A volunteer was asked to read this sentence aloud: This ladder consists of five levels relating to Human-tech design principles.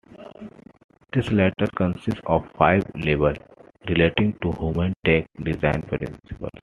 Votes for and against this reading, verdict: 2, 1, accepted